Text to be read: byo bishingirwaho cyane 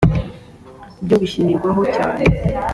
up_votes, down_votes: 2, 1